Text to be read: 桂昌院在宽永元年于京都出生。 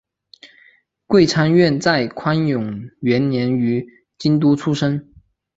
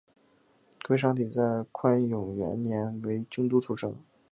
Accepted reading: first